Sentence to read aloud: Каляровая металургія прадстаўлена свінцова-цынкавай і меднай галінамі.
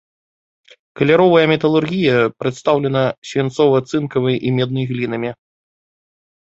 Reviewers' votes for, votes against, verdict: 1, 2, rejected